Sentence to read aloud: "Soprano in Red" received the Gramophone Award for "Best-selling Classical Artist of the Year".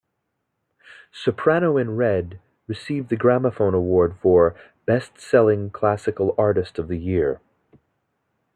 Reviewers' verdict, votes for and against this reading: accepted, 2, 1